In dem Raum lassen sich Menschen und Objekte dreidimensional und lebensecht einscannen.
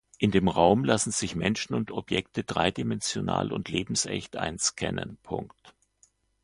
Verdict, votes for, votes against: rejected, 1, 2